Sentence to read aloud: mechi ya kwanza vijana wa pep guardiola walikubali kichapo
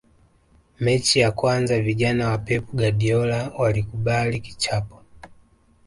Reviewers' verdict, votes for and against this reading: accepted, 2, 1